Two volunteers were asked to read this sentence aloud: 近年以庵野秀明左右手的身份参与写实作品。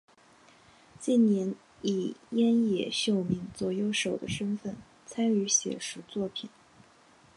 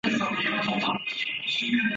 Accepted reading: first